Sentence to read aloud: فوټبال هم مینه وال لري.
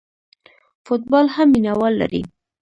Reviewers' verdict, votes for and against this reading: rejected, 1, 2